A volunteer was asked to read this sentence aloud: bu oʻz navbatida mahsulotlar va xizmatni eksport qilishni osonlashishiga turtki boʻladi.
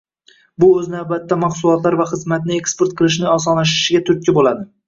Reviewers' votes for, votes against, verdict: 1, 2, rejected